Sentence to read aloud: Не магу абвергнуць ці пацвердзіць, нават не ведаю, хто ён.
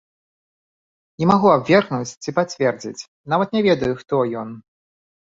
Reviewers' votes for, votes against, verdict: 1, 2, rejected